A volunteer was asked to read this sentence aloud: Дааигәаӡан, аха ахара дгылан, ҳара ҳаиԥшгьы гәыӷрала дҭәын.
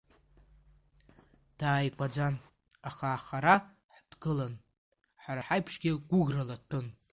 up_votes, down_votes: 1, 2